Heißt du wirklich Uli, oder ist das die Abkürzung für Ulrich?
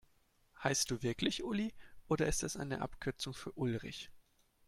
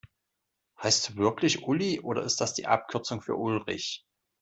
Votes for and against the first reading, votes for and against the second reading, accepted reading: 1, 2, 2, 0, second